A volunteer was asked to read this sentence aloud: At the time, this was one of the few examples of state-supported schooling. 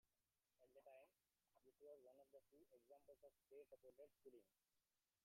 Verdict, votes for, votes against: rejected, 0, 2